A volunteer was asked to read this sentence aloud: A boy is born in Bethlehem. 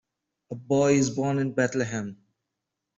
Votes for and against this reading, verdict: 2, 0, accepted